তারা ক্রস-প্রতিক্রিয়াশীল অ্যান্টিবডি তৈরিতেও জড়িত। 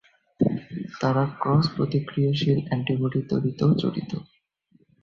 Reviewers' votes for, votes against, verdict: 2, 0, accepted